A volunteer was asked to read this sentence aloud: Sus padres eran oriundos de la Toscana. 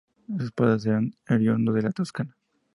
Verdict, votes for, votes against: rejected, 2, 2